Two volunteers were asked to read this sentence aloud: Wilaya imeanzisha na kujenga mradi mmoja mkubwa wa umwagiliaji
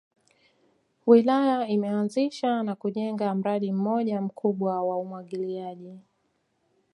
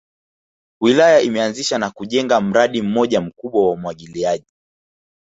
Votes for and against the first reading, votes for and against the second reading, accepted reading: 2, 1, 0, 2, first